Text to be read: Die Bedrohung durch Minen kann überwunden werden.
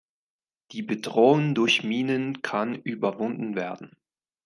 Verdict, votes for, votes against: accepted, 3, 0